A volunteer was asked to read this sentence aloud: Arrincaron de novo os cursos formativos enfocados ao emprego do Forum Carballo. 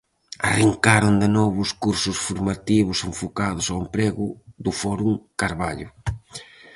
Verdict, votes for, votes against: accepted, 4, 0